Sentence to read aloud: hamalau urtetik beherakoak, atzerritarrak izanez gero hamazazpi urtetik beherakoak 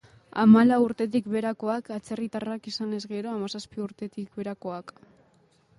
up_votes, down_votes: 2, 0